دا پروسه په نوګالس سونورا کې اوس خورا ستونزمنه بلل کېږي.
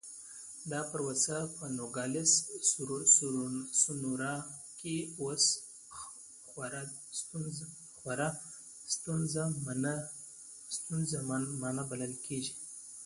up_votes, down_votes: 1, 2